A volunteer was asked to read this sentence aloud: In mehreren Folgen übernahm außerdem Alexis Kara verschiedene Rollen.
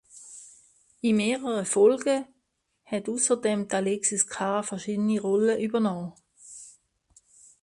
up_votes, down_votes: 0, 2